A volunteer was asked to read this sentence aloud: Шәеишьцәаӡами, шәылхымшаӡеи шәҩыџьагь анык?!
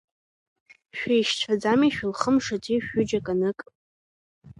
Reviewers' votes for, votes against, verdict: 1, 2, rejected